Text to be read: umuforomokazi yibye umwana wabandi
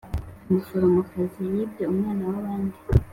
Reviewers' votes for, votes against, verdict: 2, 0, accepted